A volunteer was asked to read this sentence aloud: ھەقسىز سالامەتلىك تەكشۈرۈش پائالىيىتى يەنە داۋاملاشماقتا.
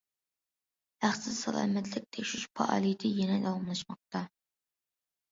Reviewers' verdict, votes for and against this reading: accepted, 2, 0